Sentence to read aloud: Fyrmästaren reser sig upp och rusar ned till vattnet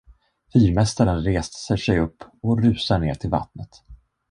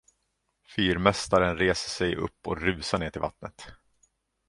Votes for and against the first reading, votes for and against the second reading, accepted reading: 1, 2, 2, 0, second